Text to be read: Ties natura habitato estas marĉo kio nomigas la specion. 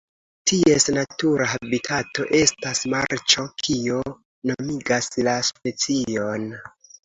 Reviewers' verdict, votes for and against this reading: accepted, 2, 0